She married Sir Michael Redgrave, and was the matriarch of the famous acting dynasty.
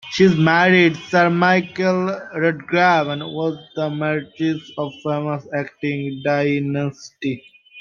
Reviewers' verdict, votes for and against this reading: rejected, 0, 3